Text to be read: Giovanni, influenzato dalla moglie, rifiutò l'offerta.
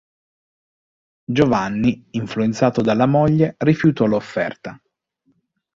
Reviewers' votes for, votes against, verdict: 2, 0, accepted